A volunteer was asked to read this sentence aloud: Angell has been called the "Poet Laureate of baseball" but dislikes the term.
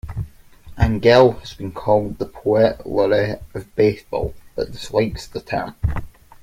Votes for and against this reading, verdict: 2, 0, accepted